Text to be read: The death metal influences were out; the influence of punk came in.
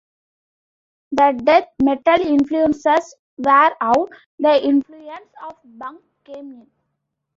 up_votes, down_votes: 0, 2